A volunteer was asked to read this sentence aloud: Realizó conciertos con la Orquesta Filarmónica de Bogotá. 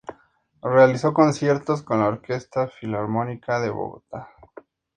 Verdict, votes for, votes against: accepted, 4, 0